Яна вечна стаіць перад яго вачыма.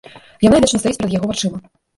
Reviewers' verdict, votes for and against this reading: rejected, 1, 2